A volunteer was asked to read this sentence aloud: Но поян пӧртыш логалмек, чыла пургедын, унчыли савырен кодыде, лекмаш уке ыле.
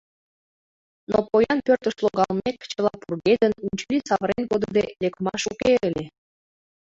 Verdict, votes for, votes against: rejected, 0, 2